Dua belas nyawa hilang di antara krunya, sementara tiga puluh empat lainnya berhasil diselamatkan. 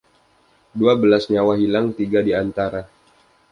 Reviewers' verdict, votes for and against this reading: rejected, 0, 2